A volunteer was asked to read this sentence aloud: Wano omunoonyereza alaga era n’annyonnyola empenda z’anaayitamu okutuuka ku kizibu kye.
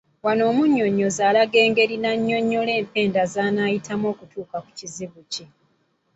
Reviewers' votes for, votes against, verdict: 0, 2, rejected